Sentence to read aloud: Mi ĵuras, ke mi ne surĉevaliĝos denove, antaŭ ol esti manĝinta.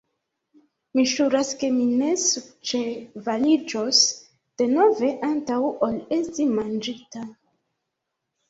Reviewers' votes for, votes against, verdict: 2, 1, accepted